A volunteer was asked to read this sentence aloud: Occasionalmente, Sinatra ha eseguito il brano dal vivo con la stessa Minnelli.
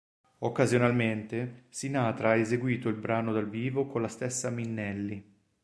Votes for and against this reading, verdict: 3, 0, accepted